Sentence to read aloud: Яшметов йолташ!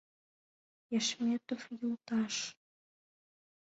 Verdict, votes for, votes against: accepted, 2, 0